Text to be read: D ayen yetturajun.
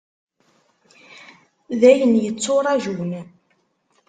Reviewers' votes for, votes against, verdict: 2, 0, accepted